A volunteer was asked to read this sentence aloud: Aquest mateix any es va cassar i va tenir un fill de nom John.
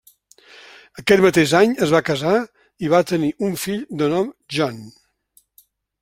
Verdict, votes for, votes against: accepted, 2, 1